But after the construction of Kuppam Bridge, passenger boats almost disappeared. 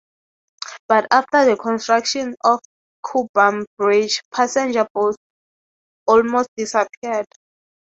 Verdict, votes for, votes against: accepted, 3, 0